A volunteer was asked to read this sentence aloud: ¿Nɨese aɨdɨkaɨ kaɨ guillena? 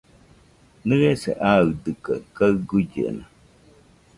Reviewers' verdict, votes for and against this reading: rejected, 0, 2